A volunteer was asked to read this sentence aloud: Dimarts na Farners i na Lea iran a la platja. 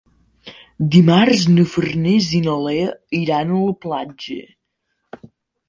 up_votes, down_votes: 2, 0